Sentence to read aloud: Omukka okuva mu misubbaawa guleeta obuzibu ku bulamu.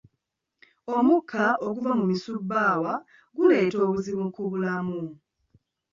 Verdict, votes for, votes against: rejected, 0, 2